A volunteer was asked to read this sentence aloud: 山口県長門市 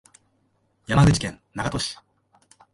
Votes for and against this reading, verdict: 1, 2, rejected